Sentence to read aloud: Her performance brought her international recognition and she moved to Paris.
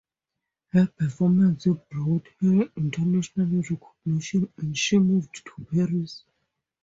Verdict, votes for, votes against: rejected, 2, 2